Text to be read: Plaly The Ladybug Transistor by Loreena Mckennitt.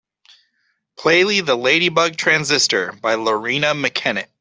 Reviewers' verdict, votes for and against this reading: accepted, 2, 0